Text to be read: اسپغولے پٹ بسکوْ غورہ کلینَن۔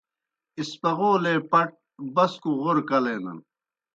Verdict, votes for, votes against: accepted, 2, 0